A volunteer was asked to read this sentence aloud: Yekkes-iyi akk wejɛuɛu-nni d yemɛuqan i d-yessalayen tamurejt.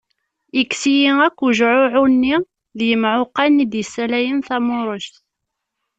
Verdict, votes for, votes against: accepted, 2, 0